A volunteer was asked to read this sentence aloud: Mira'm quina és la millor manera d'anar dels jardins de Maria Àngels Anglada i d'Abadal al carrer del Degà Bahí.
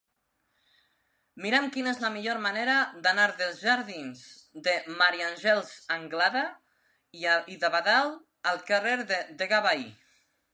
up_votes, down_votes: 1, 2